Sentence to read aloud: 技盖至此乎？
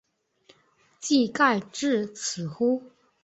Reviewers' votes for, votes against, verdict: 3, 0, accepted